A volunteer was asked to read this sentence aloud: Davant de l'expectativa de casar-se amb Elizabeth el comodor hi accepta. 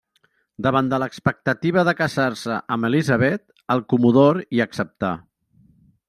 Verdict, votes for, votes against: rejected, 1, 2